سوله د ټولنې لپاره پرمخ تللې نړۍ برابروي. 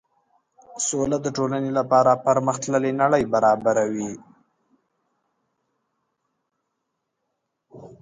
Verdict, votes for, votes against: accepted, 2, 0